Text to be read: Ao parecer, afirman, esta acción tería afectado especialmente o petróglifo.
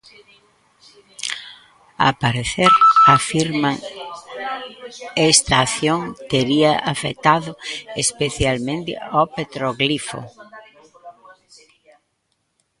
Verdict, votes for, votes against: rejected, 0, 2